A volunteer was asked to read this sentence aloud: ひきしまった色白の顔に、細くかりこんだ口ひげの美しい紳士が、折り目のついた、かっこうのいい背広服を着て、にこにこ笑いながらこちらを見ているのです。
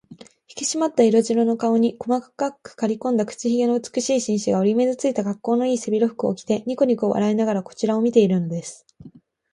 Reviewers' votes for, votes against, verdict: 12, 3, accepted